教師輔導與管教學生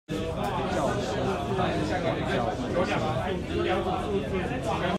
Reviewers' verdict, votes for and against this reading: rejected, 0, 2